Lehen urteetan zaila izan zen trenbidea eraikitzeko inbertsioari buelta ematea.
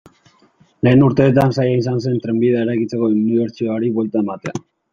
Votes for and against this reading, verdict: 1, 2, rejected